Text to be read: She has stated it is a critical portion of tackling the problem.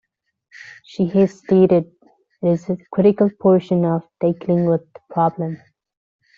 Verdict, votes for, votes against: rejected, 1, 2